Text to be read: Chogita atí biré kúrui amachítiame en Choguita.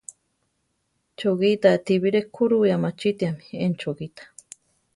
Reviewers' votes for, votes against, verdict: 1, 2, rejected